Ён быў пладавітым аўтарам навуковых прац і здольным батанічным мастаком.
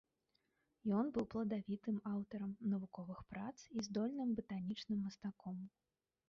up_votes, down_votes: 1, 2